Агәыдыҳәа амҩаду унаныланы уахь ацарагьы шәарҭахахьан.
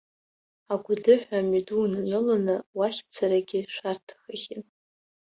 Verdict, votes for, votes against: rejected, 1, 2